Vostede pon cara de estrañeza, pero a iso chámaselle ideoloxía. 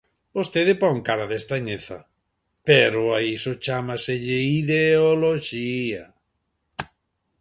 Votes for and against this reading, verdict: 2, 0, accepted